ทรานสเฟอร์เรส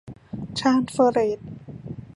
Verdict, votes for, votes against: rejected, 1, 2